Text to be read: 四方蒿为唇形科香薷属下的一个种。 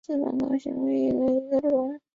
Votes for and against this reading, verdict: 2, 3, rejected